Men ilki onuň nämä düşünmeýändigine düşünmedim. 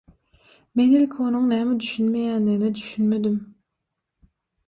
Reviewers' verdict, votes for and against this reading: rejected, 3, 3